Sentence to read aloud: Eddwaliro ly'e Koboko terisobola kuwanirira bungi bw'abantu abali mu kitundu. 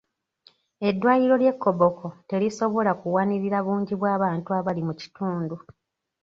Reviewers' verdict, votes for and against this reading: accepted, 2, 0